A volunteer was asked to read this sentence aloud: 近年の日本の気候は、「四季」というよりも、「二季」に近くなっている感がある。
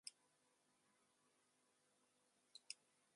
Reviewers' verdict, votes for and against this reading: rejected, 1, 2